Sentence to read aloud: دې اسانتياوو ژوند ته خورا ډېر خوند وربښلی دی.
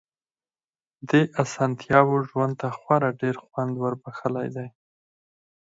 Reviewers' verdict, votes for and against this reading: accepted, 6, 0